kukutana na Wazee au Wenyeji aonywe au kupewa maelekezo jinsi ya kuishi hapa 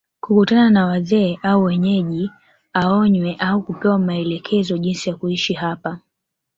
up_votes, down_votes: 2, 0